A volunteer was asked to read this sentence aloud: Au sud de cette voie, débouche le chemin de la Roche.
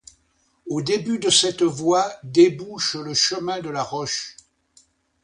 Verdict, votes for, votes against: rejected, 0, 2